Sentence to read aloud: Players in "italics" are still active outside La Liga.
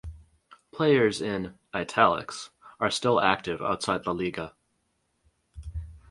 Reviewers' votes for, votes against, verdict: 4, 0, accepted